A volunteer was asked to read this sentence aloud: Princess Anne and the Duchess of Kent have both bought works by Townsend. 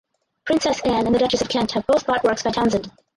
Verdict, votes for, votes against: rejected, 0, 4